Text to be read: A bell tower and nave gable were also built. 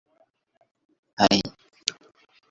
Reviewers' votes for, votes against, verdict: 0, 2, rejected